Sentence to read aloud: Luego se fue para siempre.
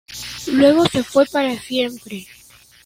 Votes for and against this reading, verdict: 0, 2, rejected